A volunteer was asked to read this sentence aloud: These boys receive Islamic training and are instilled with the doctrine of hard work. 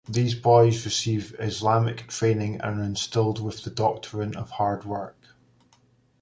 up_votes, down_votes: 2, 0